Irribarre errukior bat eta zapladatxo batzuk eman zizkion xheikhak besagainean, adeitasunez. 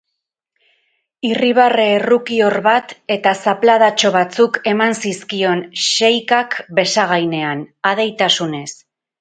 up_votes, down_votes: 4, 0